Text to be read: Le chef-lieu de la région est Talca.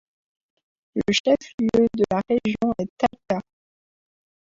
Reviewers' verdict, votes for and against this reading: rejected, 0, 2